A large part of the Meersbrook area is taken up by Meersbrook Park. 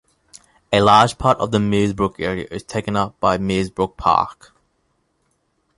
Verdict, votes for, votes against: accepted, 2, 0